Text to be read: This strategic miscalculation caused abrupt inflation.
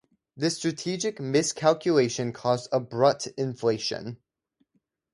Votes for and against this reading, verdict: 4, 0, accepted